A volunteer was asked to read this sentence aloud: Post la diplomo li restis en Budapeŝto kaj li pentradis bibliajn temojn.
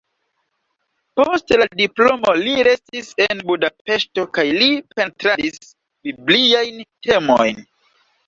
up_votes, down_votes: 1, 2